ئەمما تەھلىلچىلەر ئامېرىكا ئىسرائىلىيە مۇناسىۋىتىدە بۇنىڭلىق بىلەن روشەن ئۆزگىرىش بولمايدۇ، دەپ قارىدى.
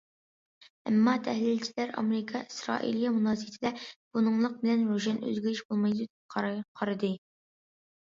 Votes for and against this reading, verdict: 0, 2, rejected